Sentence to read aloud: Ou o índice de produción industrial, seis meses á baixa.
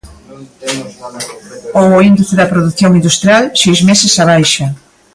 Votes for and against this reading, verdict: 0, 2, rejected